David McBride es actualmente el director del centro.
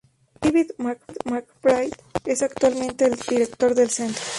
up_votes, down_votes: 0, 2